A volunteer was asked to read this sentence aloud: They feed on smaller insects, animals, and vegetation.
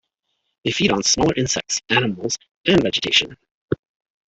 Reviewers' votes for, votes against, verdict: 3, 2, accepted